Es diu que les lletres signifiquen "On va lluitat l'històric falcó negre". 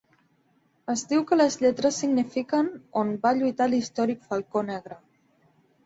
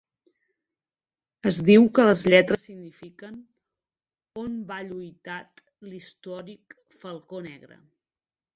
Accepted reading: first